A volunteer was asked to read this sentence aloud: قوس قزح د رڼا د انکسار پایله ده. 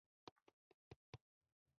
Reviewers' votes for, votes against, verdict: 0, 2, rejected